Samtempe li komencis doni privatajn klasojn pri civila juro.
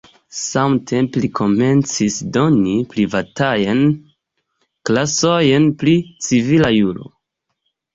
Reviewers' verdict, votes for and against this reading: rejected, 1, 2